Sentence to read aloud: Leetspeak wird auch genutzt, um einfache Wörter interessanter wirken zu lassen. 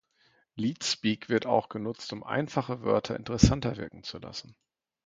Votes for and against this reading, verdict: 2, 0, accepted